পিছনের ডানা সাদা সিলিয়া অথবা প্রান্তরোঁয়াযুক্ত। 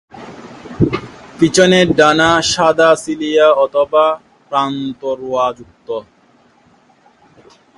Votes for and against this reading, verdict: 1, 2, rejected